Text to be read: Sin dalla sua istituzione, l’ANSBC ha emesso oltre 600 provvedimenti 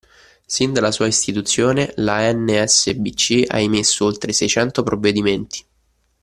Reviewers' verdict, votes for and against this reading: rejected, 0, 2